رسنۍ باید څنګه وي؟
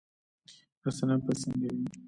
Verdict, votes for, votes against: accepted, 2, 0